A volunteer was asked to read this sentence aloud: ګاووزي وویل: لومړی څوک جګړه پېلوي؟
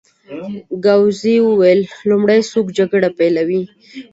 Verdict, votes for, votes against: accepted, 2, 0